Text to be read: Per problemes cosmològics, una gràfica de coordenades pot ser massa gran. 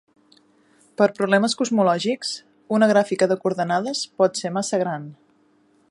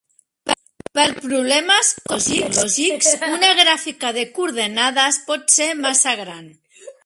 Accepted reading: first